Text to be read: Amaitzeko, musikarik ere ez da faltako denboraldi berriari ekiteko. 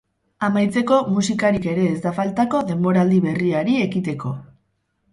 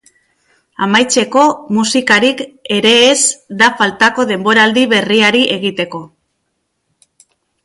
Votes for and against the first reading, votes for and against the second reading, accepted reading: 6, 4, 0, 2, first